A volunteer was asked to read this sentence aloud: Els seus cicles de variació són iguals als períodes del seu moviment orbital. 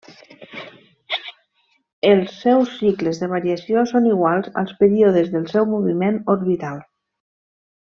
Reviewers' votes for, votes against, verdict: 3, 0, accepted